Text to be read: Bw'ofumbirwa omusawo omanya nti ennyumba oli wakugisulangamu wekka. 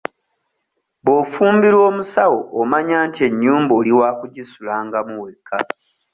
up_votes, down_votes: 2, 0